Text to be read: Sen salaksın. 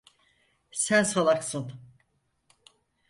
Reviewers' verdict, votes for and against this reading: accepted, 4, 0